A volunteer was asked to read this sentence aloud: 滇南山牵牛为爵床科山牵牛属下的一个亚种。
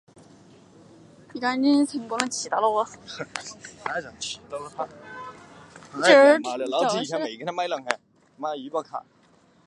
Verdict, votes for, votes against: rejected, 0, 2